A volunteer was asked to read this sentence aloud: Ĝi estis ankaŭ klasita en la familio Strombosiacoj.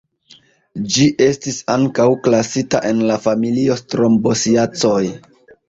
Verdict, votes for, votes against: accepted, 2, 0